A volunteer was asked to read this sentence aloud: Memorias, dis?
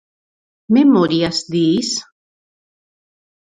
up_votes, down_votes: 4, 0